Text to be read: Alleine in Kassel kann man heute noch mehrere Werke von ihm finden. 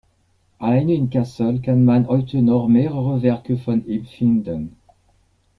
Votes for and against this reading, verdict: 1, 2, rejected